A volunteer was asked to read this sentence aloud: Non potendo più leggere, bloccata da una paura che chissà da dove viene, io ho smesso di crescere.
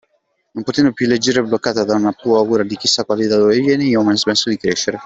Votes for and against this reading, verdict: 0, 2, rejected